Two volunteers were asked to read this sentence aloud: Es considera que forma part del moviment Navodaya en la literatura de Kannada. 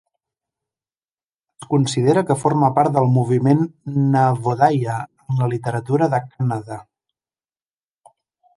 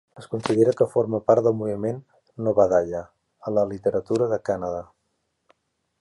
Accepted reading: second